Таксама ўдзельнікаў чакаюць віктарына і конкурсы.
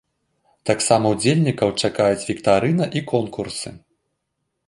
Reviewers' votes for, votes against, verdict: 2, 0, accepted